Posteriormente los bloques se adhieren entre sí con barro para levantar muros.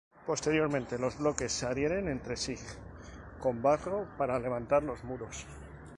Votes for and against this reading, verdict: 0, 2, rejected